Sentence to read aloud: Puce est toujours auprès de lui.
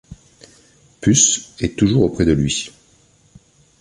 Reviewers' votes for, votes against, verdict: 2, 0, accepted